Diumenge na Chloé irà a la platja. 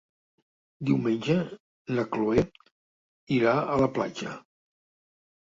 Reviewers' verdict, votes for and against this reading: rejected, 0, 2